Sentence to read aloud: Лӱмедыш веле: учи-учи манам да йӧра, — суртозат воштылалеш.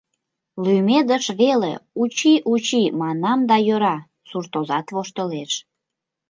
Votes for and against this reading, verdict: 1, 2, rejected